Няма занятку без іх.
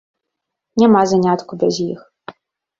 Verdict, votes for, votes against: accepted, 2, 0